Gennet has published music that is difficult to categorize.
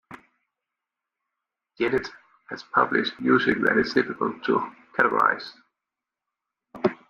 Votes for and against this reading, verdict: 2, 1, accepted